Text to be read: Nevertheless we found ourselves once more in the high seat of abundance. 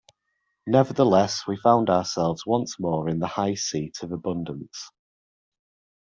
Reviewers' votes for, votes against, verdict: 2, 0, accepted